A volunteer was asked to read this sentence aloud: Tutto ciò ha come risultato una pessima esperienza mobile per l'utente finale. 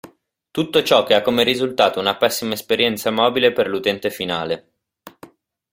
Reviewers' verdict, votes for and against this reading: accepted, 2, 1